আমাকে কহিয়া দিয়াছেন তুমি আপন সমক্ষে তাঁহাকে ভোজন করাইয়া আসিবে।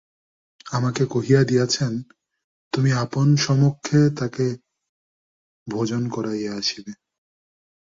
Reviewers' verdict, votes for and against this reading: rejected, 0, 2